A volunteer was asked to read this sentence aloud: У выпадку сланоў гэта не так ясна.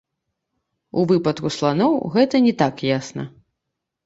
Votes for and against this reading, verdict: 2, 0, accepted